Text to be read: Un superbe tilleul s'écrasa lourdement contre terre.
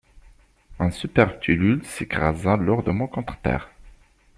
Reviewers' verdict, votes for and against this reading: rejected, 0, 2